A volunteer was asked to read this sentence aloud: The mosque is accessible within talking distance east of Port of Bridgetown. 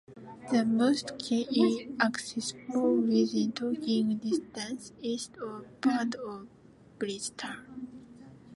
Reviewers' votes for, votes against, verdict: 0, 2, rejected